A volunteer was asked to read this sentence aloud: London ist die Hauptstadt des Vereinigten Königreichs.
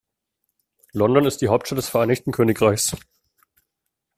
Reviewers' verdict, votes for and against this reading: rejected, 0, 2